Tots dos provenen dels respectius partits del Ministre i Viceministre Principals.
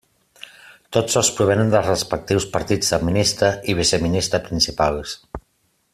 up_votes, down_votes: 2, 0